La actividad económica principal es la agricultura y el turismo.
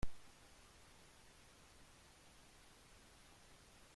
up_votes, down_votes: 0, 2